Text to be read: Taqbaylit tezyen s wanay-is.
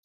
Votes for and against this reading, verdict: 0, 2, rejected